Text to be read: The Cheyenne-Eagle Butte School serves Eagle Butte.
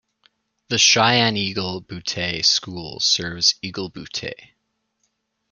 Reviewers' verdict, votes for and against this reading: rejected, 0, 2